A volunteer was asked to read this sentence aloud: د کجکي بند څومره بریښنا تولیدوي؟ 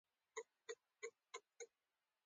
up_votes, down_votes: 2, 0